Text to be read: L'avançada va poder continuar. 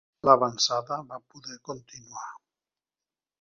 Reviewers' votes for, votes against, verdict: 0, 2, rejected